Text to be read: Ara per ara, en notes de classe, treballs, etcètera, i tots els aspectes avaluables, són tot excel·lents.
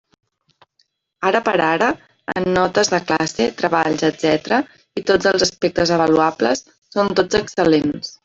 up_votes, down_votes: 0, 2